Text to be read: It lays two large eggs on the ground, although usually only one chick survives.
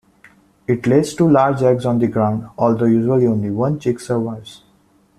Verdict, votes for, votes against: accepted, 2, 0